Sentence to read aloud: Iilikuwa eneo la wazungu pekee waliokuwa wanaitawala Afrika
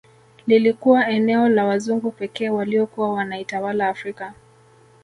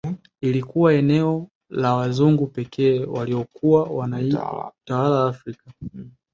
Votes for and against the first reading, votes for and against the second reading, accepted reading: 0, 2, 2, 1, second